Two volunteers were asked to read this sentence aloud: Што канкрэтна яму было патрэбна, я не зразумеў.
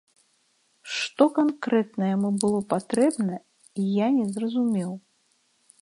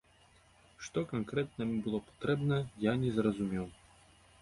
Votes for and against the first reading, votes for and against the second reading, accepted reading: 2, 0, 1, 2, first